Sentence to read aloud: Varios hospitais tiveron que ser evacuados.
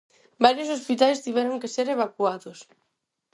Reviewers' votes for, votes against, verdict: 4, 0, accepted